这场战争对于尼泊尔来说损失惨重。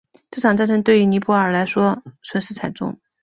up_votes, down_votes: 4, 0